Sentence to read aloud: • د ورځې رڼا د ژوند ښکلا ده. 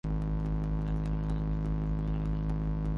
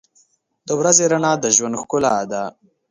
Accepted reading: second